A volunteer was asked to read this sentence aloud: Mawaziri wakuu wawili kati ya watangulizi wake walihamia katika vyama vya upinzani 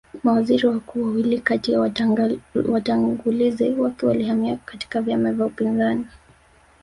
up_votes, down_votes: 3, 1